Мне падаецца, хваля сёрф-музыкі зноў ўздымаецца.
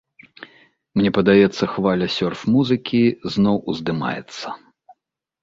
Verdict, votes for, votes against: accepted, 2, 0